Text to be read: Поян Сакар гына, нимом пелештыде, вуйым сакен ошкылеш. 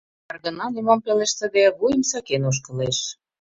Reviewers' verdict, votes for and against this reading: rejected, 0, 2